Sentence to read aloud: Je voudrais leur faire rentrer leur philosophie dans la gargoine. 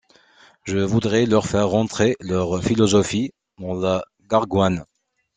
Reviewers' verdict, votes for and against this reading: accepted, 2, 0